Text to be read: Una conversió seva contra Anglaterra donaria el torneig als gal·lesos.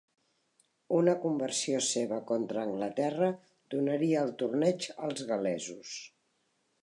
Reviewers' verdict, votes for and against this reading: rejected, 1, 3